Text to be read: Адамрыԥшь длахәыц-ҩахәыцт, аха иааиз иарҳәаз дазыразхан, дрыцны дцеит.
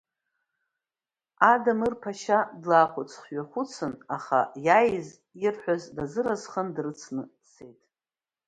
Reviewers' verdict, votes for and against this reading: rejected, 1, 3